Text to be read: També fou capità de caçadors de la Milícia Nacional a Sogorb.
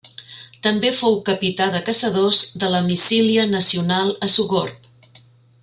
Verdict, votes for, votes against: rejected, 0, 2